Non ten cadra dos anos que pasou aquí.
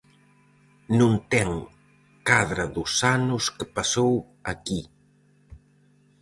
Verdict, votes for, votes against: accepted, 4, 0